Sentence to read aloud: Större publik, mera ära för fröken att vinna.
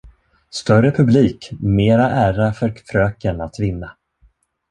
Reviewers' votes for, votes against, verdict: 1, 2, rejected